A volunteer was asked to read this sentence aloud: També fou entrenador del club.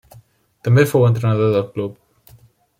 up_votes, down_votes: 3, 0